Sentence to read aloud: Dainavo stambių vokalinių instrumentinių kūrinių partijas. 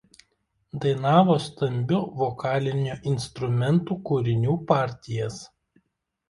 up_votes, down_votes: 1, 2